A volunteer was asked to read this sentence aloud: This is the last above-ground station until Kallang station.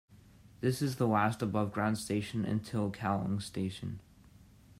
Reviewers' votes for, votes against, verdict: 2, 0, accepted